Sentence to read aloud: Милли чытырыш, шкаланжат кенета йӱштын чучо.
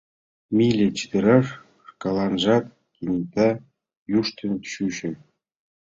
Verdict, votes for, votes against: rejected, 1, 2